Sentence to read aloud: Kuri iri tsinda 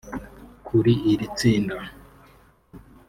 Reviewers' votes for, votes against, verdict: 0, 2, rejected